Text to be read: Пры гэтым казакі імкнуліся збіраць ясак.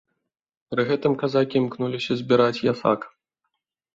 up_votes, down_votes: 1, 2